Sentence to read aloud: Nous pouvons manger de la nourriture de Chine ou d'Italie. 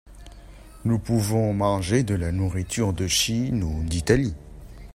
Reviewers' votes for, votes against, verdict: 2, 1, accepted